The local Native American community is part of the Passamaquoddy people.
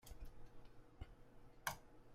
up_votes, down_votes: 0, 2